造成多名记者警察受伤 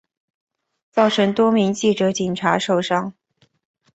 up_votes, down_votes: 2, 0